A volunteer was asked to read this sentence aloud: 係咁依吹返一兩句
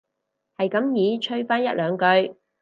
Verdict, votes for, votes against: rejected, 0, 4